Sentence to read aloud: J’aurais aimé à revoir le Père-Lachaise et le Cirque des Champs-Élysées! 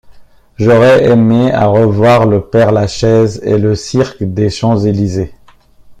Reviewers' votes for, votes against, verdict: 2, 0, accepted